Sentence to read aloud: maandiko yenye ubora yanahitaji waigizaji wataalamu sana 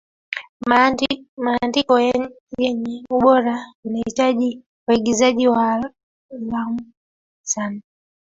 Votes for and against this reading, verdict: 0, 2, rejected